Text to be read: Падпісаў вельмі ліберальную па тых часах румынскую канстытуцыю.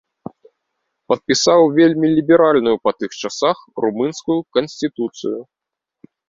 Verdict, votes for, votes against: rejected, 0, 2